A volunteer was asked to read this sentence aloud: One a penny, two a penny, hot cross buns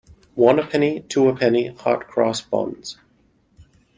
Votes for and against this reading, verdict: 2, 0, accepted